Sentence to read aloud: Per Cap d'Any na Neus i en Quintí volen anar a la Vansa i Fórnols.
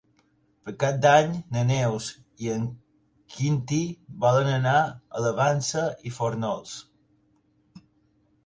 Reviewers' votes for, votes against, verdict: 2, 1, accepted